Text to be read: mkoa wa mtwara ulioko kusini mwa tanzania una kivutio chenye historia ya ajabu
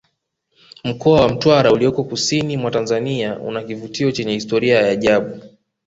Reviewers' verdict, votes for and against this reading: accepted, 2, 0